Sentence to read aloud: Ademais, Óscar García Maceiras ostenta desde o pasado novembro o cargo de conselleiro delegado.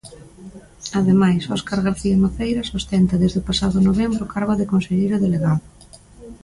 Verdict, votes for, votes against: rejected, 1, 2